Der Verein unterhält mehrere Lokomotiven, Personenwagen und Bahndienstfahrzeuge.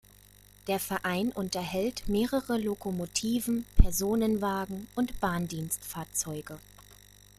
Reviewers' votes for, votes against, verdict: 2, 0, accepted